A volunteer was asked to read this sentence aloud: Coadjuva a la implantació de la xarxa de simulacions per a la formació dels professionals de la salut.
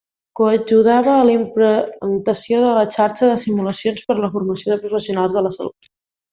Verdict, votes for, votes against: rejected, 0, 2